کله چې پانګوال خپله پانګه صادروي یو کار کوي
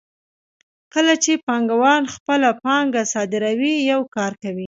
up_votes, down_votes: 2, 0